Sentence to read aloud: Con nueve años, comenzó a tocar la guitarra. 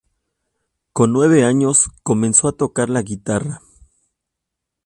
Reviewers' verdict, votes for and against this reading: accepted, 2, 0